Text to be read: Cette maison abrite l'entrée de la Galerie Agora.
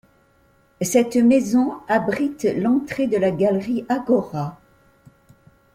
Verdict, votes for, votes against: accepted, 2, 0